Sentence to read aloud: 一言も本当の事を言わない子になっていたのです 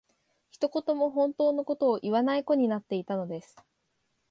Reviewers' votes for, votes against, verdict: 2, 0, accepted